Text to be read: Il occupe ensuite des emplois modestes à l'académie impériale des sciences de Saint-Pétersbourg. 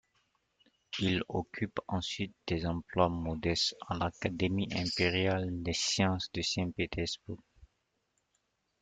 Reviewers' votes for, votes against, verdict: 2, 0, accepted